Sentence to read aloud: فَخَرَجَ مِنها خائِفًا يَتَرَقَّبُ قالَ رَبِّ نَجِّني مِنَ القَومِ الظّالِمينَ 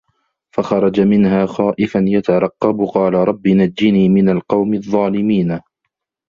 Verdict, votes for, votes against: rejected, 1, 2